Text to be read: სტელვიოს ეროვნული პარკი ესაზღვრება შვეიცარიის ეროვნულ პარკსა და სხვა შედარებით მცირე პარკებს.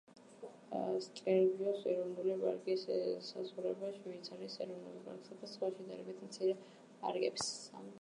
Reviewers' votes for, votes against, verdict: 1, 2, rejected